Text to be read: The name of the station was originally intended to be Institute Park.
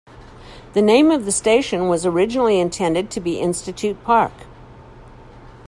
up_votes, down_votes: 2, 0